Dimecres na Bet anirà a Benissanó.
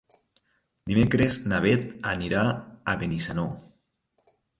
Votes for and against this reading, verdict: 2, 0, accepted